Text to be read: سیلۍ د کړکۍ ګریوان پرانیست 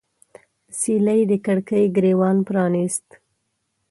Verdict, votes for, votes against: accepted, 2, 0